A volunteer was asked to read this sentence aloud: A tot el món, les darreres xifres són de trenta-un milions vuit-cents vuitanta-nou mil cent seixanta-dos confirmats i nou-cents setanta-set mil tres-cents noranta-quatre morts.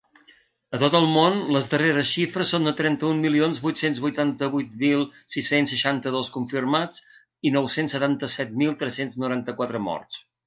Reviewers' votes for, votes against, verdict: 0, 2, rejected